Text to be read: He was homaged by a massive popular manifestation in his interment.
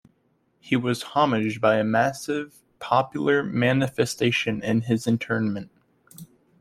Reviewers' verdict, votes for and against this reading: accepted, 2, 1